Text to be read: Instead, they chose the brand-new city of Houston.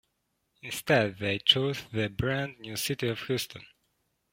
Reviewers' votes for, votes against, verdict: 2, 0, accepted